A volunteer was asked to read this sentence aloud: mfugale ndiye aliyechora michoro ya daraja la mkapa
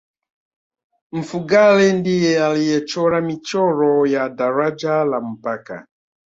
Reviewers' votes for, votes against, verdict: 0, 2, rejected